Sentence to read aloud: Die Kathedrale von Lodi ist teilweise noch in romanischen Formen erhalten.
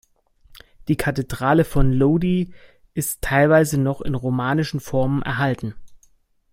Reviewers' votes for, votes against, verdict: 2, 0, accepted